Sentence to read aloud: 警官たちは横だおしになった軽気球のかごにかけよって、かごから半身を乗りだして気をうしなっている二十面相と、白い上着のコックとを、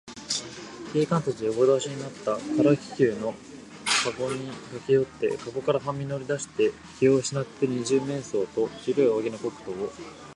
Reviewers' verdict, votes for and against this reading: rejected, 0, 2